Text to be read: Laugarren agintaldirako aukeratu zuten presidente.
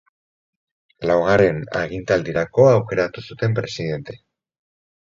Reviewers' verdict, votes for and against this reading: accepted, 4, 0